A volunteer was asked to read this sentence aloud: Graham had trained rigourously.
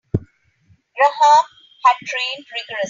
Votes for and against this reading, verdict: 0, 3, rejected